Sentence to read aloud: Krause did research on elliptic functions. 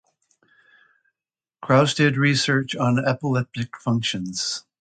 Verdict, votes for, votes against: rejected, 1, 2